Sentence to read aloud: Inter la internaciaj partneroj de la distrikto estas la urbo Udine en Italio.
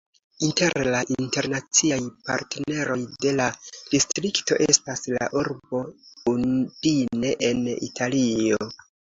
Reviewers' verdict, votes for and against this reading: accepted, 2, 0